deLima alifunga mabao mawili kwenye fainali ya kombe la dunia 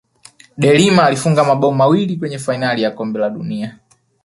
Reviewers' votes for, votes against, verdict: 0, 2, rejected